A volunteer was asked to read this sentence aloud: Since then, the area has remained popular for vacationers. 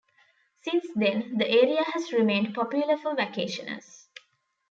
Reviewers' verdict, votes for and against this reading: accepted, 2, 0